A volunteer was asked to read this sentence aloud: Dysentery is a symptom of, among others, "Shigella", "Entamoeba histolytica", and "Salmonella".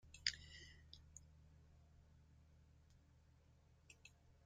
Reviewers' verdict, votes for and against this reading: rejected, 0, 2